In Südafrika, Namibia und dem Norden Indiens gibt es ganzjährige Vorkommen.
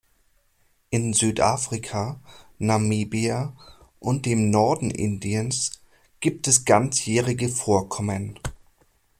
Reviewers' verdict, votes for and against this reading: accepted, 2, 0